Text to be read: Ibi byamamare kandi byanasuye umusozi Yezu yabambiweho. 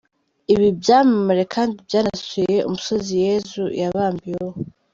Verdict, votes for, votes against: accepted, 2, 0